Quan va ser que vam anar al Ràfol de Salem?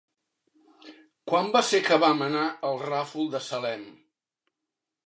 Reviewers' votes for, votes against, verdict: 2, 0, accepted